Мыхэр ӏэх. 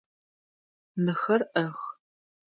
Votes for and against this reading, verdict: 2, 0, accepted